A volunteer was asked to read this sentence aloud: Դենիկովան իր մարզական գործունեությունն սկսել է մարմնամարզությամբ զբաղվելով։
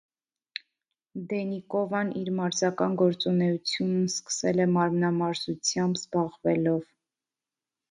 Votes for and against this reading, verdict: 1, 2, rejected